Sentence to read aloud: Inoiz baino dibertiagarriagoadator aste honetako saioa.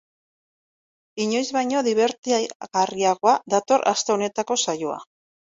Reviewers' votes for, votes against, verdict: 1, 2, rejected